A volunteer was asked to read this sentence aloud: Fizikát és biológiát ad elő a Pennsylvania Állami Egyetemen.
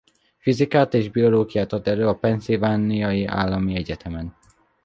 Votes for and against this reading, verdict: 1, 2, rejected